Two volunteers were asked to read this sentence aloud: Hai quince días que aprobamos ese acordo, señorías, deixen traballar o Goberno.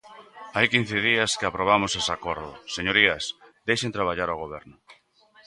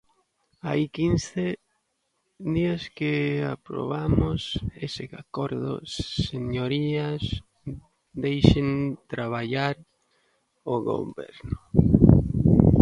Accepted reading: first